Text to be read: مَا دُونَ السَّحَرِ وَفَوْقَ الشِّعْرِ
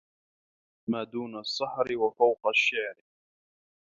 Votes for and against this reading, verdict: 2, 0, accepted